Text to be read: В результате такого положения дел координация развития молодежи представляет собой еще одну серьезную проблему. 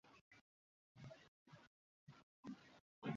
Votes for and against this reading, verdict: 0, 2, rejected